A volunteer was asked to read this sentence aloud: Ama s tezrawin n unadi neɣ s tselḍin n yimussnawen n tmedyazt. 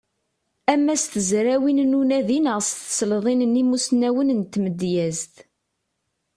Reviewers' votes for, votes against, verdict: 2, 0, accepted